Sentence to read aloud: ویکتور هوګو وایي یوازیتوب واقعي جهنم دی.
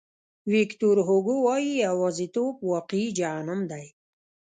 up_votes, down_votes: 0, 2